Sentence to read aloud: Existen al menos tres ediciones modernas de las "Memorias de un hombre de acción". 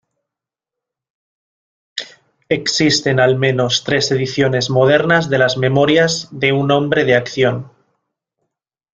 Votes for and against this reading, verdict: 2, 0, accepted